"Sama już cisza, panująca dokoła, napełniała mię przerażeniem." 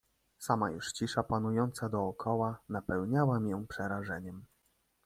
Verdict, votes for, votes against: accepted, 2, 1